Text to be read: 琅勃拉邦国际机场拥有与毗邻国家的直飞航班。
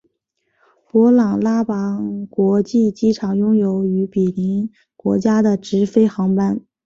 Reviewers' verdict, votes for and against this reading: accepted, 2, 1